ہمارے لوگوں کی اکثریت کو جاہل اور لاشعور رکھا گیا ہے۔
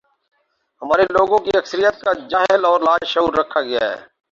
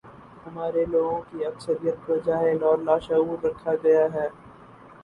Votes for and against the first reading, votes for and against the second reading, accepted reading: 2, 0, 0, 2, first